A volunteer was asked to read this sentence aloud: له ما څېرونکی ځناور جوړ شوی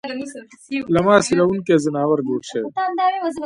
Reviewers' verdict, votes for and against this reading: rejected, 1, 2